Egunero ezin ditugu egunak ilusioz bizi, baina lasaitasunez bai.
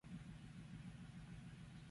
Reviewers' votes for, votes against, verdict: 0, 4, rejected